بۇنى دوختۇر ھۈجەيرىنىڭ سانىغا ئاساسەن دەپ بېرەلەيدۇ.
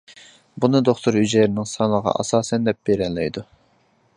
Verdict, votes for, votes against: accepted, 2, 0